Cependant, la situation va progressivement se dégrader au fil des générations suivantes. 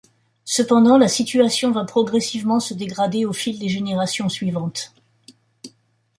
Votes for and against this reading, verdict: 2, 0, accepted